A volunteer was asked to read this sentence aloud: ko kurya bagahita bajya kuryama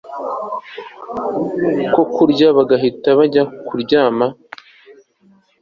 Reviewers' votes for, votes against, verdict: 2, 0, accepted